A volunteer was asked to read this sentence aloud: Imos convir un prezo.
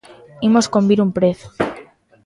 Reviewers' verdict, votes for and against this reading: accepted, 2, 0